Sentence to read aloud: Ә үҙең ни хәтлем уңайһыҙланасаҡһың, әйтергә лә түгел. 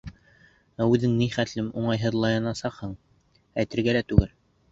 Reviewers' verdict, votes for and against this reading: rejected, 1, 2